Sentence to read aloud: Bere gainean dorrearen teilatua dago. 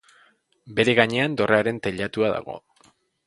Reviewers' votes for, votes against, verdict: 5, 0, accepted